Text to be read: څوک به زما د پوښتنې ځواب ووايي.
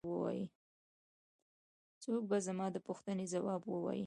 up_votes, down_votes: 2, 0